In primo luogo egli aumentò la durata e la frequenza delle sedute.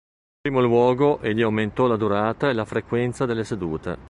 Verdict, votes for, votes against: rejected, 1, 2